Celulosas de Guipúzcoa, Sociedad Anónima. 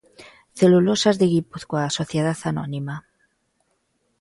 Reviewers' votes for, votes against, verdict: 2, 0, accepted